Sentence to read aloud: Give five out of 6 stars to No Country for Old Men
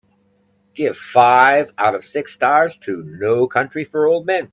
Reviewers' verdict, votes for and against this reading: rejected, 0, 2